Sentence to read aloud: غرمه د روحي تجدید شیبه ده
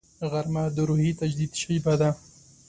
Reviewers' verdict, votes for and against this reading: accepted, 2, 0